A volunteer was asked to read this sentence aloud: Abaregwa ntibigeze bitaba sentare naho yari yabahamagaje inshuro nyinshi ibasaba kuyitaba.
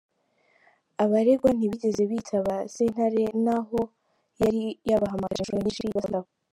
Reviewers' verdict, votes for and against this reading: rejected, 0, 2